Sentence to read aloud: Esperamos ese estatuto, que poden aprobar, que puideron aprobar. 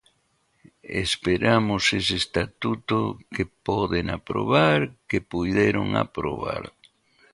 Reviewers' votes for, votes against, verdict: 1, 2, rejected